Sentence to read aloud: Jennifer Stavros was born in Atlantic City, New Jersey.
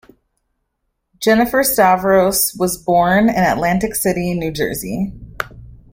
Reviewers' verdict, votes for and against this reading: accepted, 2, 0